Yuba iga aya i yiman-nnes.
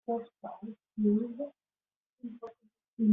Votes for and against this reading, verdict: 0, 2, rejected